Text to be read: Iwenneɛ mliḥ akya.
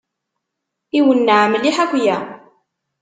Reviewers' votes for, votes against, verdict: 2, 0, accepted